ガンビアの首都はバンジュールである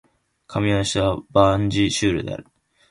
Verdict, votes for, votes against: rejected, 1, 2